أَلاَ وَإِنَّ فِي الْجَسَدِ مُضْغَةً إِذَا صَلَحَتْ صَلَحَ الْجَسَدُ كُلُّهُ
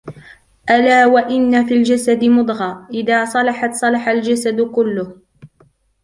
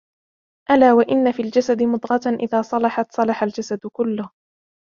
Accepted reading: first